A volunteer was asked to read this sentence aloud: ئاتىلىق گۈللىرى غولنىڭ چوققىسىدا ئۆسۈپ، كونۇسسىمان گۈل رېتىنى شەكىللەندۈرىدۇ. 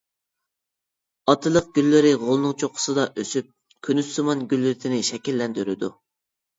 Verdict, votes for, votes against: rejected, 1, 2